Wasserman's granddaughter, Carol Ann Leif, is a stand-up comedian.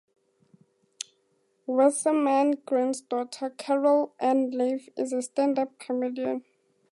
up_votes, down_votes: 2, 2